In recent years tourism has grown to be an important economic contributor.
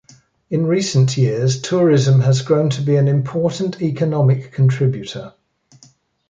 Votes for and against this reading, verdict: 2, 0, accepted